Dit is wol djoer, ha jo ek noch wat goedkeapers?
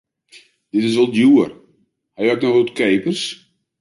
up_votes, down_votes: 1, 2